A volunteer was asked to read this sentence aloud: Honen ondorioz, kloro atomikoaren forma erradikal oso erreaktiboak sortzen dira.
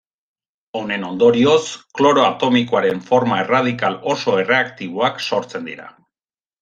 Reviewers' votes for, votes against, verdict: 2, 0, accepted